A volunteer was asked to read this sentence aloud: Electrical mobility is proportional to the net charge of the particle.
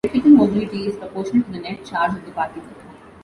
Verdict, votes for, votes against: rejected, 0, 2